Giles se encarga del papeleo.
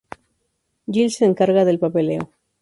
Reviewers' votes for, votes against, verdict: 0, 2, rejected